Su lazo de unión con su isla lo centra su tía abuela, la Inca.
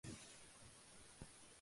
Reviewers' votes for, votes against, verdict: 0, 2, rejected